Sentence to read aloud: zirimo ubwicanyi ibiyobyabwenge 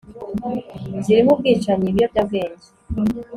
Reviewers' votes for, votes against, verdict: 2, 0, accepted